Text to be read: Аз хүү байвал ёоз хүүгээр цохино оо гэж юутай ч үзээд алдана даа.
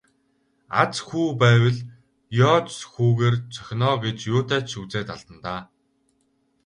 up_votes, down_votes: 4, 0